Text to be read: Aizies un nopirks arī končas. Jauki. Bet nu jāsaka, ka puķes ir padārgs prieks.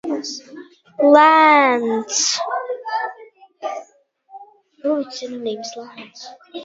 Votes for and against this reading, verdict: 0, 3, rejected